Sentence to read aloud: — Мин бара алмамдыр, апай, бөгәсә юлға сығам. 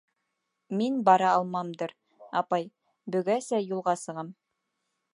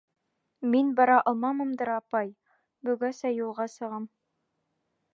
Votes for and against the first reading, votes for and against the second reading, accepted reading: 3, 1, 1, 2, first